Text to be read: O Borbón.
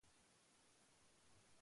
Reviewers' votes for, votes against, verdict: 0, 2, rejected